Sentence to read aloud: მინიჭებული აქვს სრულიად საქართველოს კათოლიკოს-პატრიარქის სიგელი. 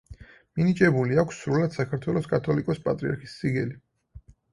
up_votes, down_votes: 4, 0